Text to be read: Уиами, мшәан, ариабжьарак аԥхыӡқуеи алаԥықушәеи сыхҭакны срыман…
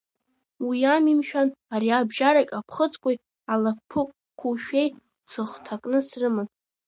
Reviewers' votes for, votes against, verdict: 0, 2, rejected